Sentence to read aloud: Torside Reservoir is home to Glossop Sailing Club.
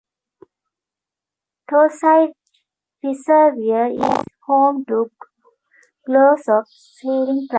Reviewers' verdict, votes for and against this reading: rejected, 1, 2